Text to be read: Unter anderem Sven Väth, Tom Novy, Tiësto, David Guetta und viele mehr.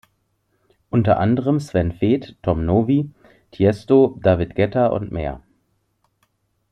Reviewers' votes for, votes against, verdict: 0, 2, rejected